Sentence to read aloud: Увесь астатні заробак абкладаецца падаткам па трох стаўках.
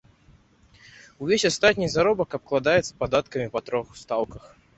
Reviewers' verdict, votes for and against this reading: rejected, 0, 2